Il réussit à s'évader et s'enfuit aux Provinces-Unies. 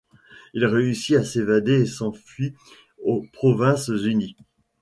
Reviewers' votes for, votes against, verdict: 0, 2, rejected